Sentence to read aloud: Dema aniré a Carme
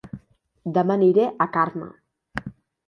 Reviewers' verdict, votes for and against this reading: accepted, 2, 0